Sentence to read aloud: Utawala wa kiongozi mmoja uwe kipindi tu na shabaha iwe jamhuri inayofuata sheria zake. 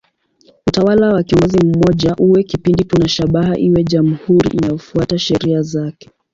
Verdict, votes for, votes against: accepted, 2, 0